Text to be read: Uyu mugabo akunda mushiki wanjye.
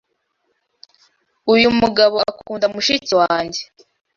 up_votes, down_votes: 2, 0